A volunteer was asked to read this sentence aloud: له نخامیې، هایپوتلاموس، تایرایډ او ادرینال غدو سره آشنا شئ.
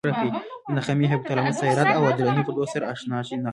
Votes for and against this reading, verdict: 1, 2, rejected